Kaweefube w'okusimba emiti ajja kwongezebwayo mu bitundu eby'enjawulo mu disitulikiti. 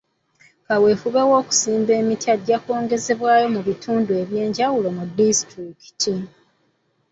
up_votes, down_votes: 2, 0